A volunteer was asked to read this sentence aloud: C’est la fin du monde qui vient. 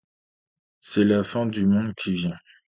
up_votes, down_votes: 2, 0